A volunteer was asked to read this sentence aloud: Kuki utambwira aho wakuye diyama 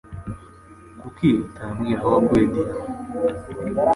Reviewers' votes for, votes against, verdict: 2, 0, accepted